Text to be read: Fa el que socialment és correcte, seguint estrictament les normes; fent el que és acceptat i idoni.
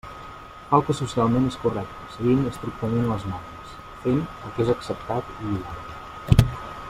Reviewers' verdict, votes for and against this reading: accepted, 2, 0